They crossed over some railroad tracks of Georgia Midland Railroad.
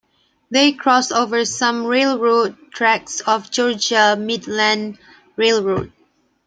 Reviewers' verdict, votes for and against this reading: accepted, 3, 0